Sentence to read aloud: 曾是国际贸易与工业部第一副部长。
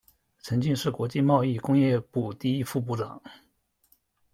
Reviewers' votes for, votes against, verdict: 1, 2, rejected